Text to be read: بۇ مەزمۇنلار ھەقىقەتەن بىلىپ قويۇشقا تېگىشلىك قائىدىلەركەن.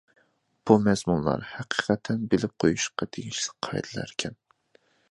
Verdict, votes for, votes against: rejected, 1, 2